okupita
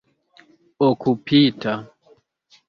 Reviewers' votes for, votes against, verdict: 2, 0, accepted